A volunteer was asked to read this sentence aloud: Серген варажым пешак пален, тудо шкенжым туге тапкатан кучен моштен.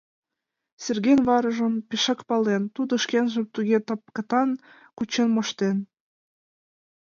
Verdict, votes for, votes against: accepted, 2, 0